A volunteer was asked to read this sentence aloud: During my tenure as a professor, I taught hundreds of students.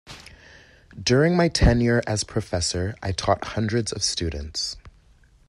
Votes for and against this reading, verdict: 0, 2, rejected